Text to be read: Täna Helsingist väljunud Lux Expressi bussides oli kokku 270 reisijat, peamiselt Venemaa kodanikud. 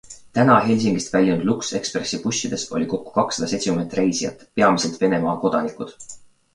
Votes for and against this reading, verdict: 0, 2, rejected